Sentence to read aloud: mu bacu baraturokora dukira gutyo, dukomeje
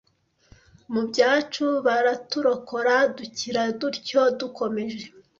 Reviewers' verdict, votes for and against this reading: rejected, 0, 2